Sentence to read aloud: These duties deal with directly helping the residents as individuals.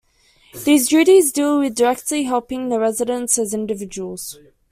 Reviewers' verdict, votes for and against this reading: accepted, 2, 0